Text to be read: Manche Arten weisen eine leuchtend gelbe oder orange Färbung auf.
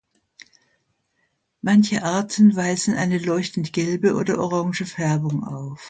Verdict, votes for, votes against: accepted, 2, 0